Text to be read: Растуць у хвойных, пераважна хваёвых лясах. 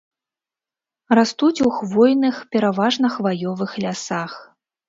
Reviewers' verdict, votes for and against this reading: accepted, 2, 0